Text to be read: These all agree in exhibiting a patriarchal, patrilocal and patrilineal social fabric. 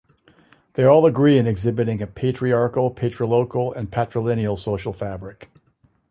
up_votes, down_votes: 0, 2